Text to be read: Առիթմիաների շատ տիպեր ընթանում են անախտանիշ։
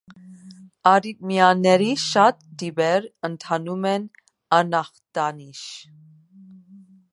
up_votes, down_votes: 2, 0